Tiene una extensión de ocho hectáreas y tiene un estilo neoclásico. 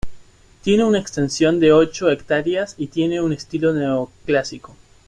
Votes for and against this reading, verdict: 2, 0, accepted